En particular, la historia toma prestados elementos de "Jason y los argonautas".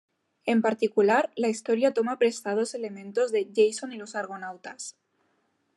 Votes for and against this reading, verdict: 2, 0, accepted